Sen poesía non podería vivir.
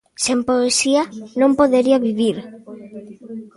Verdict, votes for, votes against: accepted, 2, 0